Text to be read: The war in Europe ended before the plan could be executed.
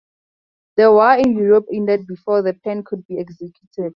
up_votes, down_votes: 0, 2